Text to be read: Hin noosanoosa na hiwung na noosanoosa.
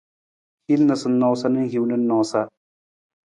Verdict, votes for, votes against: accepted, 2, 0